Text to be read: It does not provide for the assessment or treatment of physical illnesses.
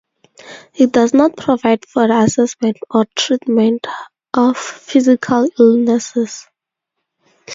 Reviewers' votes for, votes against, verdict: 2, 2, rejected